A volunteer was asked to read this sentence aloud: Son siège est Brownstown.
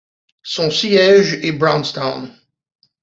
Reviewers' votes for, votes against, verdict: 2, 1, accepted